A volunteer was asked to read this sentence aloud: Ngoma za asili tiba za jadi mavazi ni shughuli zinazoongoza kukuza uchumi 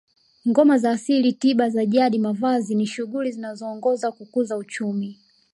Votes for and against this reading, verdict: 2, 0, accepted